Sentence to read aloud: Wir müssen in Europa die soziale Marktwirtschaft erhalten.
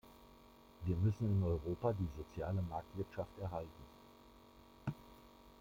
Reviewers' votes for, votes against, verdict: 1, 2, rejected